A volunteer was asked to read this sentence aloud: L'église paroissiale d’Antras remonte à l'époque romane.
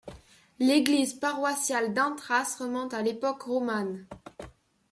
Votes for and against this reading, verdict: 2, 0, accepted